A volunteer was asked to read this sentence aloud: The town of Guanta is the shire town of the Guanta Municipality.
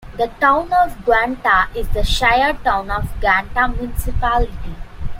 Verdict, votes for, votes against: rejected, 0, 2